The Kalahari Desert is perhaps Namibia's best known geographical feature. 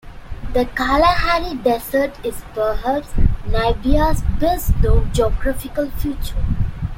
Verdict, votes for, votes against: rejected, 0, 2